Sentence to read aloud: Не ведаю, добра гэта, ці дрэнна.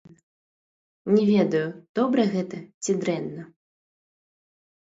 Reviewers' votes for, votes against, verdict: 0, 2, rejected